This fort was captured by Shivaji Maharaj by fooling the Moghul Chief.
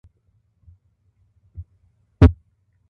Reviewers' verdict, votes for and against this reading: rejected, 0, 2